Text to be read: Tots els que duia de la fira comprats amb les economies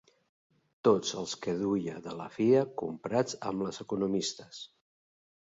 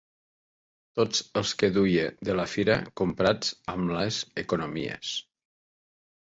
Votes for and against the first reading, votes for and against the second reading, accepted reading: 0, 3, 3, 0, second